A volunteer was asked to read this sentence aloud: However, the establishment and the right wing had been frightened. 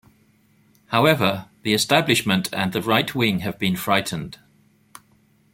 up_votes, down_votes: 1, 2